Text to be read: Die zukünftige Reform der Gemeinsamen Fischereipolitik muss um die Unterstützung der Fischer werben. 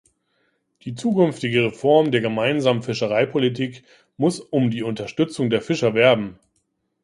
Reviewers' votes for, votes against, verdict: 1, 2, rejected